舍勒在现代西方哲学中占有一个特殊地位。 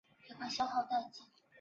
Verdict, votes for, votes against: rejected, 1, 7